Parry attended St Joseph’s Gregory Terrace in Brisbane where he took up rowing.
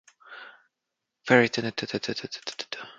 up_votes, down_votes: 0, 2